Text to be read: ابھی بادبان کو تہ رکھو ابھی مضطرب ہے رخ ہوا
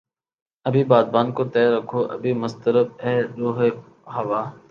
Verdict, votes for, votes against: accepted, 6, 4